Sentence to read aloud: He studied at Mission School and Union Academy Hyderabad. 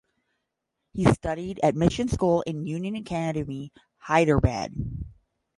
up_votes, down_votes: 5, 10